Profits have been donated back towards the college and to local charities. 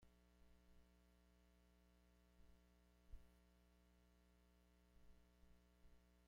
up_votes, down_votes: 1, 2